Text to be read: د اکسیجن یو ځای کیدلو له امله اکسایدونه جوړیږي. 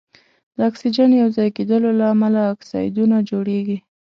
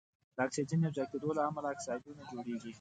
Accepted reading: first